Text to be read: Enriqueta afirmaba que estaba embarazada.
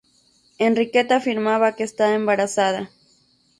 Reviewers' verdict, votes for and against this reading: rejected, 0, 2